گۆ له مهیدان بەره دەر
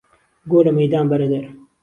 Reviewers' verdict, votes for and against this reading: accepted, 2, 0